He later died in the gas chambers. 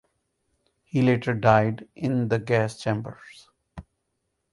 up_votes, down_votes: 4, 0